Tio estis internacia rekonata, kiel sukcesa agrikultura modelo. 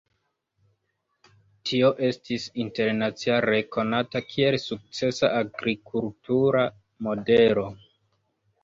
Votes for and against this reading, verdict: 1, 2, rejected